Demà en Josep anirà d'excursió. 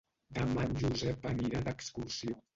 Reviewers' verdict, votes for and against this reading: rejected, 0, 2